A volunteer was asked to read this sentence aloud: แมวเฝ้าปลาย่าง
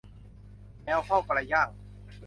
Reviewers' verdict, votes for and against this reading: accepted, 2, 0